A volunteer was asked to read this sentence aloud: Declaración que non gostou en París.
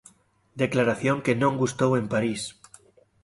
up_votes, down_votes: 0, 2